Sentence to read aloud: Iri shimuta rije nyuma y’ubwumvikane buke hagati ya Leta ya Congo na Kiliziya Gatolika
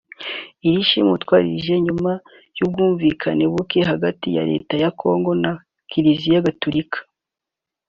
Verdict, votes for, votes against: accepted, 3, 0